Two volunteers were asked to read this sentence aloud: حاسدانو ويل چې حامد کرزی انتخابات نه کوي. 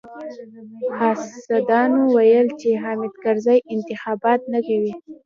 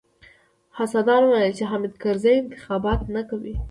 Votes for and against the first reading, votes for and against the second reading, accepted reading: 2, 0, 0, 2, first